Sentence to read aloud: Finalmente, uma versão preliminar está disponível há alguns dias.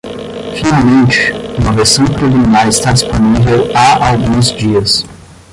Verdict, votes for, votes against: rejected, 0, 10